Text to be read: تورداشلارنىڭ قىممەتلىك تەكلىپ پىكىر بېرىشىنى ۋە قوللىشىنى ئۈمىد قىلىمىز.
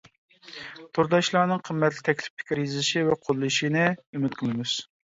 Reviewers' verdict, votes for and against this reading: rejected, 0, 2